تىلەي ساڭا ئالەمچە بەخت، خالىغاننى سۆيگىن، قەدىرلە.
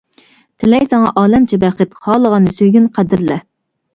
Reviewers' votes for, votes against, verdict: 2, 0, accepted